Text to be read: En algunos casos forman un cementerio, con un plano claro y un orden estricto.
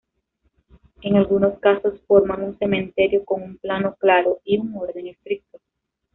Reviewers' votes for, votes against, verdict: 1, 2, rejected